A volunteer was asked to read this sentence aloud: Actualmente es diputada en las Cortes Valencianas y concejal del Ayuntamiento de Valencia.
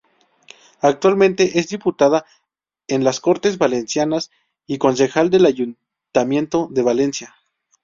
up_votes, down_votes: 0, 2